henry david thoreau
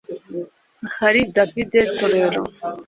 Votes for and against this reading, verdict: 0, 2, rejected